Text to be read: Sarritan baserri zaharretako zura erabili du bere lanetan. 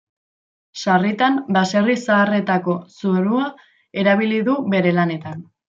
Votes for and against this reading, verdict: 1, 2, rejected